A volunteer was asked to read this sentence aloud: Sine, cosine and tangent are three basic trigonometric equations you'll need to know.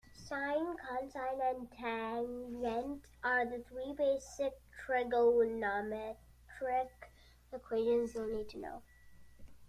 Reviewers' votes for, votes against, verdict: 0, 2, rejected